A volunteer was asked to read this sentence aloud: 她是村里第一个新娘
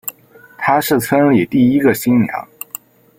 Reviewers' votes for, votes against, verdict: 2, 0, accepted